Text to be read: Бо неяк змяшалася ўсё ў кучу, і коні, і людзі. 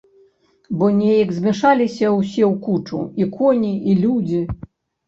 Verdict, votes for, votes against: rejected, 1, 2